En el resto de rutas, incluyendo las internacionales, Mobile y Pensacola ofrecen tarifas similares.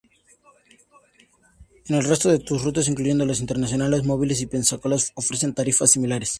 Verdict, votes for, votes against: rejected, 0, 2